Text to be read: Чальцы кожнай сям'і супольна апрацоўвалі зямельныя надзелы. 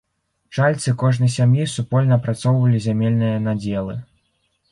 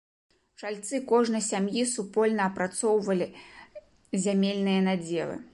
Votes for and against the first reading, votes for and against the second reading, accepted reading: 1, 2, 3, 0, second